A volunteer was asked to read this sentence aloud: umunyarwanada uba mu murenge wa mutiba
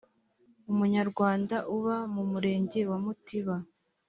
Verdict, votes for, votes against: rejected, 0, 2